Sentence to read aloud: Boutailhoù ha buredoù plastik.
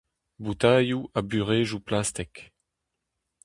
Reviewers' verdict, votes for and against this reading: rejected, 0, 2